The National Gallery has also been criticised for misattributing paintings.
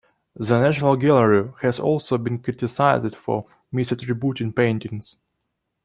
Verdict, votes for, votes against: accepted, 2, 0